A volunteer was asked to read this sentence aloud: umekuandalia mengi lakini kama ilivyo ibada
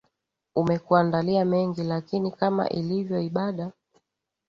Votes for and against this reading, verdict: 7, 0, accepted